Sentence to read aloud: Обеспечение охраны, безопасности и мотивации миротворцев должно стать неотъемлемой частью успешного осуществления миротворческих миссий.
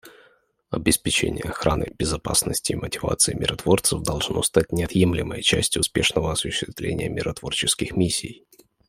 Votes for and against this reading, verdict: 2, 0, accepted